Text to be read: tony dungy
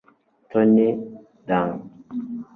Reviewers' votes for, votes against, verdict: 1, 2, rejected